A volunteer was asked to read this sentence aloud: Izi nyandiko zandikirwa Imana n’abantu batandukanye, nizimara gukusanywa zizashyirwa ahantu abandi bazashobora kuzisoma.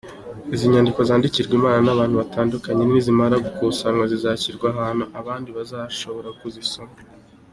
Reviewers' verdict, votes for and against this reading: accepted, 2, 1